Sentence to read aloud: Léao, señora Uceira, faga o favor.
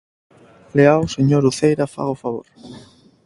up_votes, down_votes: 4, 0